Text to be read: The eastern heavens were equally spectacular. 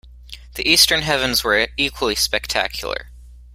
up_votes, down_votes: 2, 0